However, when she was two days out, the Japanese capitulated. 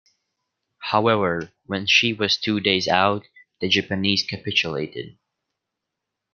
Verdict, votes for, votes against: accepted, 2, 0